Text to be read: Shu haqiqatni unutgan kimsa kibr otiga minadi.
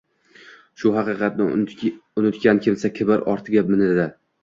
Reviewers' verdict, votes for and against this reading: rejected, 1, 2